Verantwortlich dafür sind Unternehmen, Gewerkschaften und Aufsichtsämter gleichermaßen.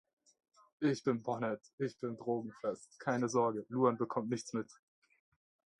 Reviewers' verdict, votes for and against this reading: rejected, 0, 3